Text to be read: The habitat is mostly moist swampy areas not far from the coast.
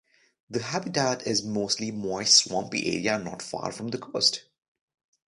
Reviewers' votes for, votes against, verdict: 0, 2, rejected